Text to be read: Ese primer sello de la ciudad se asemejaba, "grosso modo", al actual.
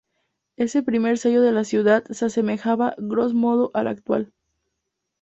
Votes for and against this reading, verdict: 0, 2, rejected